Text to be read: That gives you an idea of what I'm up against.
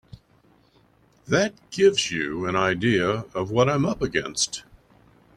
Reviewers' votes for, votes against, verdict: 3, 0, accepted